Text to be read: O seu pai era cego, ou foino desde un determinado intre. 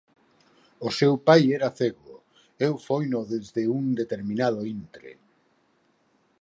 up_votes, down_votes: 0, 4